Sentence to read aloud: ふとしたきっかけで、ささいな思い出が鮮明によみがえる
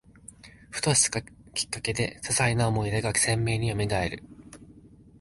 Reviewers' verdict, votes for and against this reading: rejected, 0, 2